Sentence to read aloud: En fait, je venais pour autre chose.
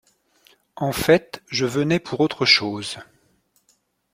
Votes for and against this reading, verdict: 2, 0, accepted